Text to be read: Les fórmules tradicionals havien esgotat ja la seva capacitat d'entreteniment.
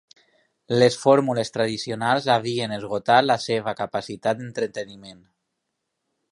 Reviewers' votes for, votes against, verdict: 0, 2, rejected